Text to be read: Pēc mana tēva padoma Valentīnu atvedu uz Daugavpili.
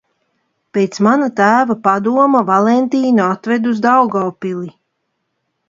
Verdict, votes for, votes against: accepted, 2, 0